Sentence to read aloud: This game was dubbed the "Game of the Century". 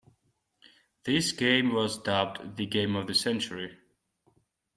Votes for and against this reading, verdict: 2, 0, accepted